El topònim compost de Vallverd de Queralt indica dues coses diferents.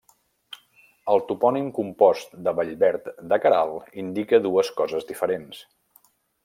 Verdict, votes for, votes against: accepted, 2, 0